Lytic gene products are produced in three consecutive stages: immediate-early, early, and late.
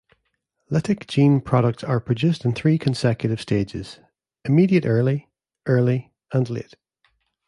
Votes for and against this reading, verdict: 2, 0, accepted